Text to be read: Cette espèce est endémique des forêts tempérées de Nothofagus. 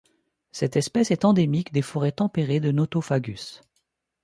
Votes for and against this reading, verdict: 2, 0, accepted